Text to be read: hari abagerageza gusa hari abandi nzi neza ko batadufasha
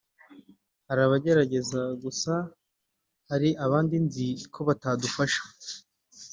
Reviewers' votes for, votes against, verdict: 0, 3, rejected